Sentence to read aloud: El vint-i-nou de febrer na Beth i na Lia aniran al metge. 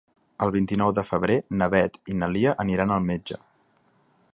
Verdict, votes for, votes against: accepted, 4, 0